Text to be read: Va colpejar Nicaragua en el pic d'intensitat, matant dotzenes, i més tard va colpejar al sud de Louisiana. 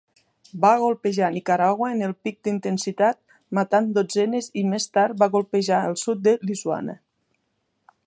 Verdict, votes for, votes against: rejected, 1, 2